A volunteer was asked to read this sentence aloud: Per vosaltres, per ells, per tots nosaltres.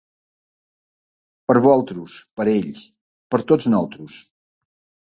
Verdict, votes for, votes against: rejected, 1, 2